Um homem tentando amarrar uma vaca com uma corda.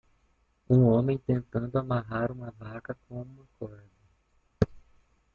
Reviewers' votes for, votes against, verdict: 1, 2, rejected